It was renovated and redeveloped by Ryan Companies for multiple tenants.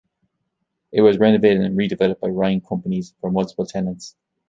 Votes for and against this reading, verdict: 2, 0, accepted